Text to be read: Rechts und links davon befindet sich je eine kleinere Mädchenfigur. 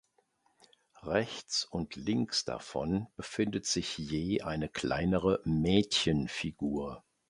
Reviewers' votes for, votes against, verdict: 2, 0, accepted